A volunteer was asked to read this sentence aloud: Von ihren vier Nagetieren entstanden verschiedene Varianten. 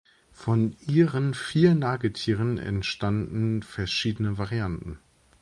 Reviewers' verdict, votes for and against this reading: accepted, 3, 0